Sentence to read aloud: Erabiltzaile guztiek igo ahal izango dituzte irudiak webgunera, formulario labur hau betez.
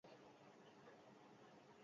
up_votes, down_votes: 0, 4